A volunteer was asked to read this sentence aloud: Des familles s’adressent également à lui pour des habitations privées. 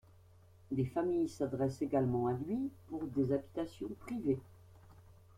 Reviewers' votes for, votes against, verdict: 1, 2, rejected